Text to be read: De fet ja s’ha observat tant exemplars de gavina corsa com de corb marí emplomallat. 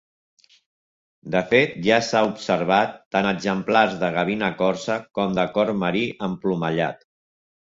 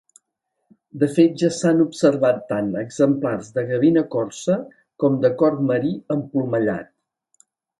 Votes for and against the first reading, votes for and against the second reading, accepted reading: 2, 0, 1, 2, first